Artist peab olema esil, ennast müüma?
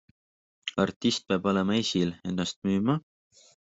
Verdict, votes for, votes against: accepted, 2, 0